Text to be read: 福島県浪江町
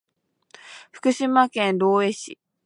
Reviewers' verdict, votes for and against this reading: rejected, 1, 2